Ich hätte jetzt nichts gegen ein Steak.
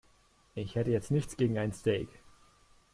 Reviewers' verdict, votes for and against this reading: accepted, 3, 0